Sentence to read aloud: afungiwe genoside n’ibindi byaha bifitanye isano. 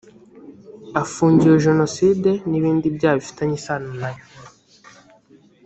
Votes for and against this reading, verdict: 1, 3, rejected